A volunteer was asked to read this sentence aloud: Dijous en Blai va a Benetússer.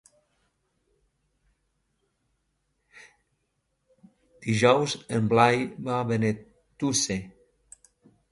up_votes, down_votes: 1, 2